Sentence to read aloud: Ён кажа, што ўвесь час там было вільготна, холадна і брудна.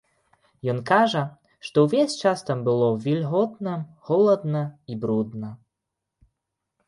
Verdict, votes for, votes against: accepted, 2, 0